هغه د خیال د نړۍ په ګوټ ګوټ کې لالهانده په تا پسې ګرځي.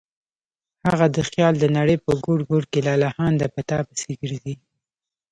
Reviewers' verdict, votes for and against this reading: rejected, 0, 2